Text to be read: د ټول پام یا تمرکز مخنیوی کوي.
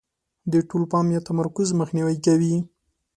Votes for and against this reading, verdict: 2, 1, accepted